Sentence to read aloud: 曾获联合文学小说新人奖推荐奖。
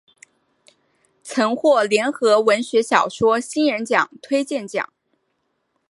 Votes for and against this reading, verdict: 4, 0, accepted